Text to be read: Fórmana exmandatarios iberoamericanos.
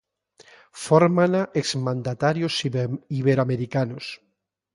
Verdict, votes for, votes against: rejected, 0, 2